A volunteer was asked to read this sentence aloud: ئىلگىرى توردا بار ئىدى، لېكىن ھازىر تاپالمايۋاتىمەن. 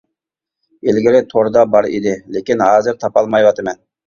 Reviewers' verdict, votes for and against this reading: accepted, 2, 0